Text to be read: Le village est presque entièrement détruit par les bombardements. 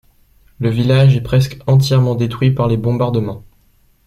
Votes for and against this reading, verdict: 2, 0, accepted